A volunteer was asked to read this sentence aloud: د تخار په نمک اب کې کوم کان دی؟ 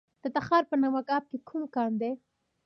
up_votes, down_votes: 2, 0